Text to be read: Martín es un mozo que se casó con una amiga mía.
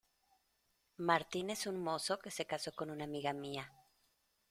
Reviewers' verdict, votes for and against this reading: accepted, 2, 0